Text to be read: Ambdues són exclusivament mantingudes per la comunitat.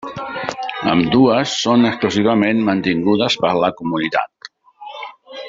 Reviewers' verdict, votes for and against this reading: accepted, 3, 0